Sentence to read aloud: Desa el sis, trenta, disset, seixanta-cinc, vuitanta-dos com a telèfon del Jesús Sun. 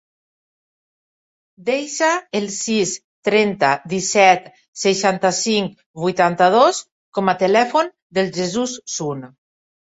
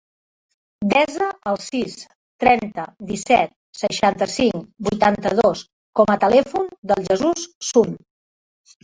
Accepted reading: first